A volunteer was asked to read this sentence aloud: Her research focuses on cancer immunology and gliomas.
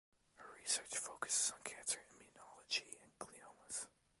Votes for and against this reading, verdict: 2, 1, accepted